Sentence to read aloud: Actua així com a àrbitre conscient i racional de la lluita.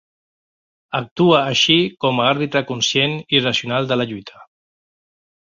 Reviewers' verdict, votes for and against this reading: accepted, 2, 0